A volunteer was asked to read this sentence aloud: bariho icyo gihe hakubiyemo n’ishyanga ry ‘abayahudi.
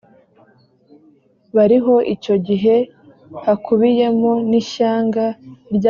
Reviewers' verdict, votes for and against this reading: rejected, 1, 2